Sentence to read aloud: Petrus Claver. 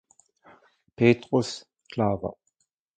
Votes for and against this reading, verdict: 2, 0, accepted